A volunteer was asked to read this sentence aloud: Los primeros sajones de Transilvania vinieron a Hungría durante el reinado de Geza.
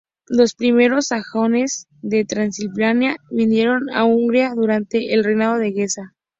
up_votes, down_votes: 0, 2